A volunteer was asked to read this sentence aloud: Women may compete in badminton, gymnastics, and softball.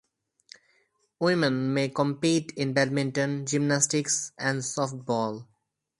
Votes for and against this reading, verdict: 4, 0, accepted